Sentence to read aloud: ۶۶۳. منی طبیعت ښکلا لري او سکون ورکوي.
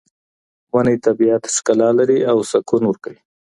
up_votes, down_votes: 0, 2